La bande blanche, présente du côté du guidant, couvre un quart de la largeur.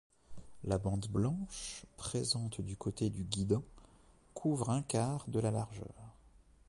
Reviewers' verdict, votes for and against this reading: rejected, 0, 2